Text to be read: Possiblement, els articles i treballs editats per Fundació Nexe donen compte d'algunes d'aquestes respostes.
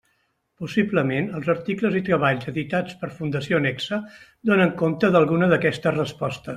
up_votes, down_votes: 0, 2